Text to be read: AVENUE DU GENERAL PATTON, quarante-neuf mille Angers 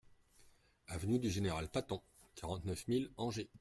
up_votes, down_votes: 0, 2